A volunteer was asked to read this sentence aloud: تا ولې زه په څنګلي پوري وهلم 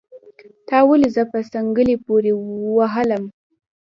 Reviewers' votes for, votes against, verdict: 2, 0, accepted